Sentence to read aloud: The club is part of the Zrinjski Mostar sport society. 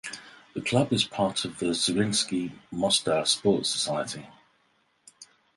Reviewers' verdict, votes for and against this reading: accepted, 4, 0